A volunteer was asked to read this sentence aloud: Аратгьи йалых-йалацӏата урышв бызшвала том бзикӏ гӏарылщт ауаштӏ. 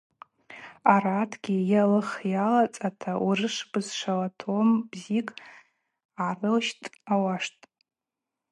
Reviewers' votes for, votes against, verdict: 2, 0, accepted